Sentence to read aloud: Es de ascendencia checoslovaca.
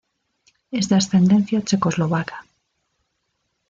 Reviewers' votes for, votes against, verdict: 2, 0, accepted